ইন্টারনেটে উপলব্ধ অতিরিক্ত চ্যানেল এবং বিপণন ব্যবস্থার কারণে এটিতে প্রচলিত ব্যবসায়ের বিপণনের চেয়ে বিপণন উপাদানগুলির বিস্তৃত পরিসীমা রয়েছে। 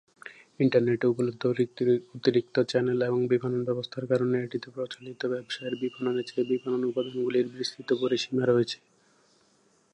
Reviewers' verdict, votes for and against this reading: rejected, 0, 2